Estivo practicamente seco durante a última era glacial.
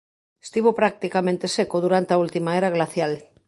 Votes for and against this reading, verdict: 3, 0, accepted